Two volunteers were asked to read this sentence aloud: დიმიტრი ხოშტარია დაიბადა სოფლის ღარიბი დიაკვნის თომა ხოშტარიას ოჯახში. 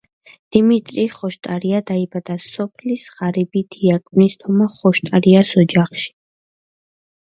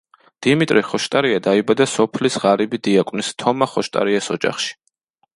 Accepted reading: second